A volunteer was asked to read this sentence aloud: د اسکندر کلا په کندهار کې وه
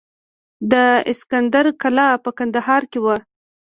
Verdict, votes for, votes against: rejected, 1, 2